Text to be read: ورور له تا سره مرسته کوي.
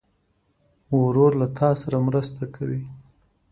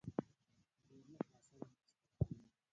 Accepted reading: first